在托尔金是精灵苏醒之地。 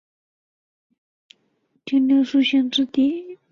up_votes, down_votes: 0, 3